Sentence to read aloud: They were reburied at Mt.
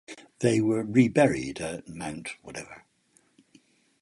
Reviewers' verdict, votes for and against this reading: rejected, 0, 4